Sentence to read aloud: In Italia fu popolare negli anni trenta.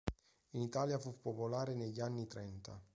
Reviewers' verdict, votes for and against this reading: accepted, 3, 0